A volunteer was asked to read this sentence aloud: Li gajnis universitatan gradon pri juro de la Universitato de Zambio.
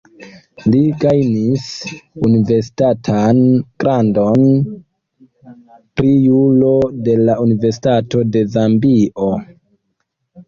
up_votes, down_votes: 2, 1